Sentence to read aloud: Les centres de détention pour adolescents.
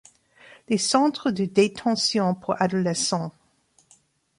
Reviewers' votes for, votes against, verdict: 2, 1, accepted